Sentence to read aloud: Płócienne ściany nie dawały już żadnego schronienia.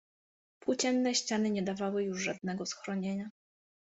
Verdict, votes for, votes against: accepted, 2, 0